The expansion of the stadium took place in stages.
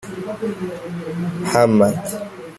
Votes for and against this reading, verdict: 0, 2, rejected